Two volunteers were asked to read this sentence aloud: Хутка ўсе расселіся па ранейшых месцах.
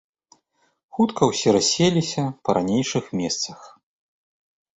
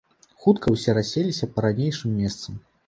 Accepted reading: first